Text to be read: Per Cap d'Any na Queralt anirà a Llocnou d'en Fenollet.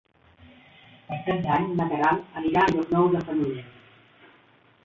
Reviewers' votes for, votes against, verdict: 3, 0, accepted